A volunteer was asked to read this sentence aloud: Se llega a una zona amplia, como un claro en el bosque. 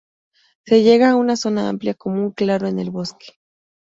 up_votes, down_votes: 0, 2